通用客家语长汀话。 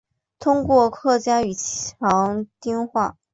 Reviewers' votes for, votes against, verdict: 2, 3, rejected